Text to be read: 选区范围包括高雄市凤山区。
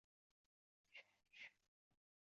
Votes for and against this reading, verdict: 0, 2, rejected